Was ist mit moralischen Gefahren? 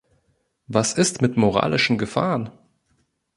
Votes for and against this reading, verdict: 2, 0, accepted